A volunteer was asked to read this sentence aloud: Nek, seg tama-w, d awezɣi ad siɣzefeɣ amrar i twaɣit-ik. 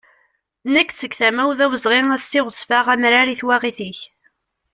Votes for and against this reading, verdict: 2, 0, accepted